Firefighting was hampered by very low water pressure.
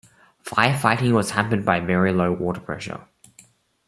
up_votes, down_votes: 2, 0